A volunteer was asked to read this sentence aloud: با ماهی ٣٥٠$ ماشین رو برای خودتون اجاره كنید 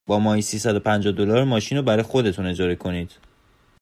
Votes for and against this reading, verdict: 0, 2, rejected